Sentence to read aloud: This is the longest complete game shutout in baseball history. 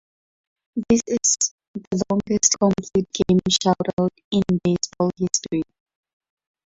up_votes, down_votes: 0, 4